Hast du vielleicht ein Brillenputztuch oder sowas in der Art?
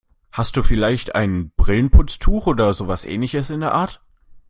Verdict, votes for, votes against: rejected, 0, 2